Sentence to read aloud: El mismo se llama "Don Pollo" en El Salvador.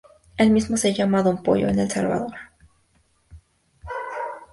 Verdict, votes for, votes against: accepted, 2, 0